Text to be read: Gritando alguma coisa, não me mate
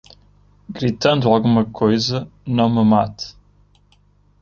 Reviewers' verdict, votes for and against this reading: accepted, 2, 0